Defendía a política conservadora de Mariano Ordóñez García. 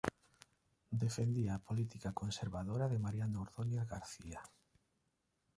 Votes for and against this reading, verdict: 2, 0, accepted